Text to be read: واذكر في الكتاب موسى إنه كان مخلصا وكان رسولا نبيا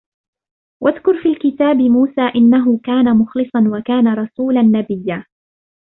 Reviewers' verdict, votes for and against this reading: accepted, 2, 0